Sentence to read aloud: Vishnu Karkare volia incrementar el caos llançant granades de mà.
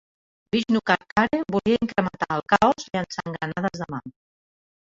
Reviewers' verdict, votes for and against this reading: rejected, 1, 3